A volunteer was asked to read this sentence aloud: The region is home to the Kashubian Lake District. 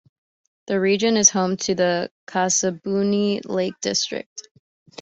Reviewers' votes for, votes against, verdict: 2, 0, accepted